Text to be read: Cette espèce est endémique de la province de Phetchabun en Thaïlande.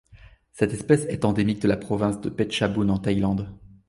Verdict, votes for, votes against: accepted, 2, 1